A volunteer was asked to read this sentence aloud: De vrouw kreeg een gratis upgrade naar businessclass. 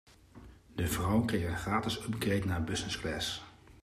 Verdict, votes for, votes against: rejected, 1, 2